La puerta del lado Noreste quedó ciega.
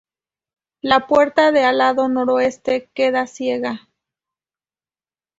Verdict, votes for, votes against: rejected, 0, 2